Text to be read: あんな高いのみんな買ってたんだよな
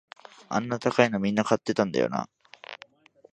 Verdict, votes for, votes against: accepted, 2, 0